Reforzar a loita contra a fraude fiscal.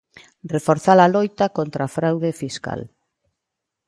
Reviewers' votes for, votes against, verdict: 2, 0, accepted